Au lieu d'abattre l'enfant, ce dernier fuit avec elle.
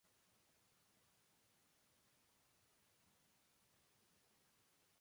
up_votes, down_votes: 0, 2